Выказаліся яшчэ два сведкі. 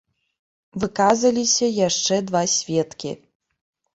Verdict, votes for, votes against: rejected, 0, 2